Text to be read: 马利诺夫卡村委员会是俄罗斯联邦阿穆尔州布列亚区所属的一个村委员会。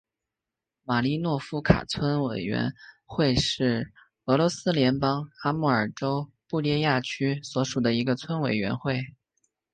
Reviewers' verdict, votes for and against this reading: accepted, 2, 1